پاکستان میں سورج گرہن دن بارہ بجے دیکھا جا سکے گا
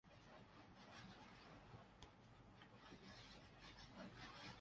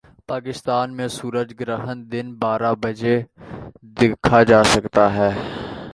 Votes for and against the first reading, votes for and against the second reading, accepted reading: 0, 3, 3, 2, second